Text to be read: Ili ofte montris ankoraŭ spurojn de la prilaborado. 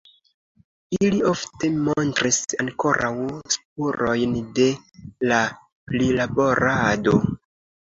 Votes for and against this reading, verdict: 2, 1, accepted